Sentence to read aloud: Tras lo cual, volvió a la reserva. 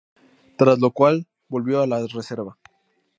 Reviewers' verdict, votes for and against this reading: accepted, 2, 0